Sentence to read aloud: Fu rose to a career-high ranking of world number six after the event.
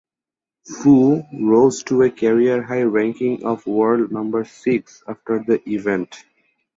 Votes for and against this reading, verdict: 4, 0, accepted